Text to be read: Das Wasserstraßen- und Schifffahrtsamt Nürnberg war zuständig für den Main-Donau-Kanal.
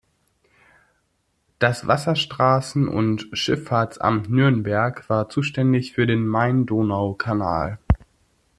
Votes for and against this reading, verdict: 2, 0, accepted